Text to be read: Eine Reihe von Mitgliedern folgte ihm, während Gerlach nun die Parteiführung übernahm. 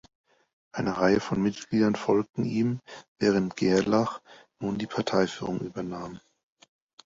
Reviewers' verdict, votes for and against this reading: rejected, 0, 2